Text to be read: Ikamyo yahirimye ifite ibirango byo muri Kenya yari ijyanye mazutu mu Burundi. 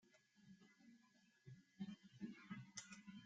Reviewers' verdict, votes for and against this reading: rejected, 0, 2